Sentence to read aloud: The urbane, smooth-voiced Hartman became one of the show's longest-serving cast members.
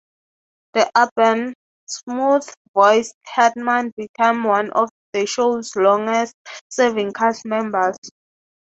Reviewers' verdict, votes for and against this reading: rejected, 0, 3